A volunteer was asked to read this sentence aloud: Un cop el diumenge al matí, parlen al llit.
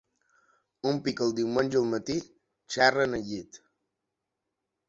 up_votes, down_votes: 1, 2